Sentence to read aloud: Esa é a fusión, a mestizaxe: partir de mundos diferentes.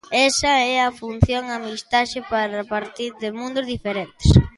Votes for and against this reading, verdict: 1, 2, rejected